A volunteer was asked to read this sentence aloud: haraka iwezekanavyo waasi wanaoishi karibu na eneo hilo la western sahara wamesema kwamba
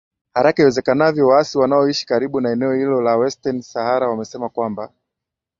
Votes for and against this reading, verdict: 0, 2, rejected